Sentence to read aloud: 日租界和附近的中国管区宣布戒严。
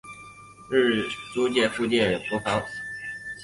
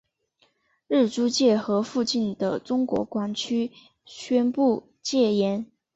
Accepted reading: second